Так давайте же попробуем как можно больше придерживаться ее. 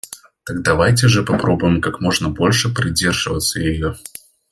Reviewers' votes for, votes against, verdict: 0, 2, rejected